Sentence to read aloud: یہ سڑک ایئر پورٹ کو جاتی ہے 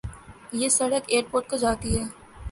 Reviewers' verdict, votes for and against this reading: accepted, 3, 0